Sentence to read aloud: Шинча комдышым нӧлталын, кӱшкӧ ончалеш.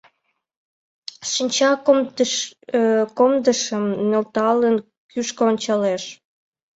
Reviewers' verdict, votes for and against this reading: rejected, 0, 2